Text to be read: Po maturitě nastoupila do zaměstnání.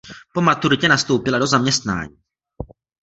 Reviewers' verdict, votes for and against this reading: accepted, 2, 0